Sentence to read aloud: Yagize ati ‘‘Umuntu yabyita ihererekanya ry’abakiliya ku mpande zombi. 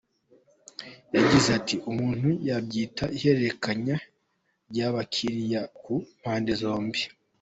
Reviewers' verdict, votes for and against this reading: accepted, 2, 0